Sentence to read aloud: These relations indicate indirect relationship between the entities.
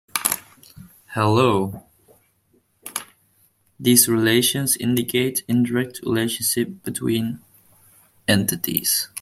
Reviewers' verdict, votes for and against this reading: rejected, 0, 2